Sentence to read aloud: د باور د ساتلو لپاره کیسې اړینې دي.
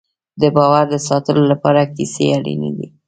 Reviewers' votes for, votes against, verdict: 2, 0, accepted